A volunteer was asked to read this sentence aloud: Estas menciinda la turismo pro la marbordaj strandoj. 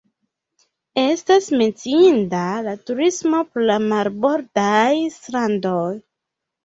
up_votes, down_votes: 2, 0